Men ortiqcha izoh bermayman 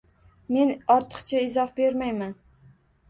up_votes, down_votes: 2, 0